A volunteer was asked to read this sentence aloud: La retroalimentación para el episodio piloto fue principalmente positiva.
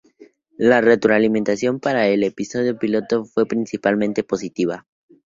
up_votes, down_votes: 0, 2